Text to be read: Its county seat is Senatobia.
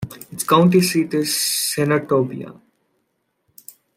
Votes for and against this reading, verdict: 2, 0, accepted